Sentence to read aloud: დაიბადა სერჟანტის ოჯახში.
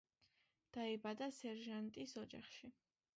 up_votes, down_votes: 1, 2